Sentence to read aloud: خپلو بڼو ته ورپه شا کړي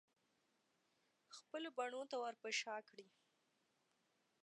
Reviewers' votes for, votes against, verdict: 2, 0, accepted